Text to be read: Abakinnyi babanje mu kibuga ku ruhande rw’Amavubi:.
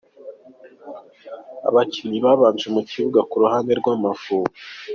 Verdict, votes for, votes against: accepted, 2, 0